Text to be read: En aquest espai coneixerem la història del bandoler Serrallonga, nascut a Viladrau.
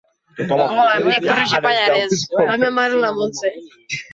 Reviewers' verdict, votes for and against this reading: rejected, 0, 2